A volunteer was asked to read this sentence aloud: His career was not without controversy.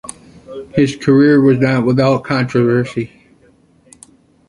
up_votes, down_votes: 2, 0